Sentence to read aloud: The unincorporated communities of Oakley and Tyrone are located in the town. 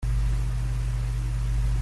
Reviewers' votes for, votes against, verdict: 0, 2, rejected